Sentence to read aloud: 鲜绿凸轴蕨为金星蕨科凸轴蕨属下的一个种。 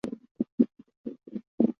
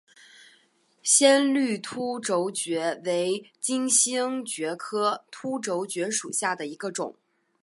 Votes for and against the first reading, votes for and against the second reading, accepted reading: 0, 3, 3, 0, second